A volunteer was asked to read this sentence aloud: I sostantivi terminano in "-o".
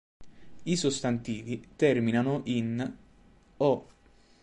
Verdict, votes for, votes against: accepted, 2, 0